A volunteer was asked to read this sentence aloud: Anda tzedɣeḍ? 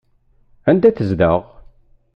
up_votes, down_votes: 1, 2